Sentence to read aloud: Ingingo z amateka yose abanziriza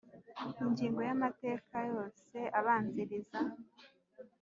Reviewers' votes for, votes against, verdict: 2, 0, accepted